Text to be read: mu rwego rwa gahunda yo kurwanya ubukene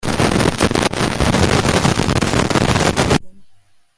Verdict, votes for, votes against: rejected, 0, 2